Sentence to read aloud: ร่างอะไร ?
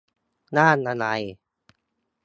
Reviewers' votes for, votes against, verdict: 3, 0, accepted